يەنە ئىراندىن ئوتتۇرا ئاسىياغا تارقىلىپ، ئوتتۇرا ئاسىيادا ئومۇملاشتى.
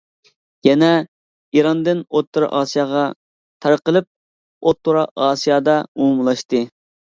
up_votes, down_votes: 2, 0